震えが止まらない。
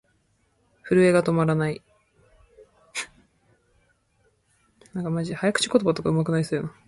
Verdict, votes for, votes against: rejected, 1, 2